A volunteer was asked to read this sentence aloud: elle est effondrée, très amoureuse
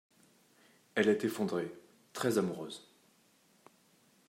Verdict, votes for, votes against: accepted, 2, 0